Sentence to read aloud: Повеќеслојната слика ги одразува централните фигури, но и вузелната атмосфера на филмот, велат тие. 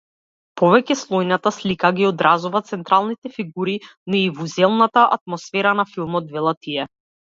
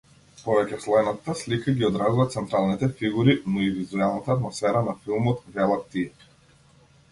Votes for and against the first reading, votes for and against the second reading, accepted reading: 2, 0, 1, 2, first